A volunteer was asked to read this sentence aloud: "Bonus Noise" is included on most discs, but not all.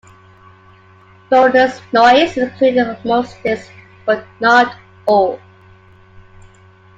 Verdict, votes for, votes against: accepted, 2, 1